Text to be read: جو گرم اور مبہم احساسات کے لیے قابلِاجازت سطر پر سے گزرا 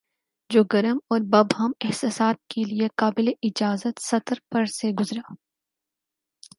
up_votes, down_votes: 4, 0